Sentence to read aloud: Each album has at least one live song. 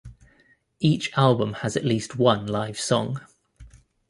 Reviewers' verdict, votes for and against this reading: accepted, 2, 0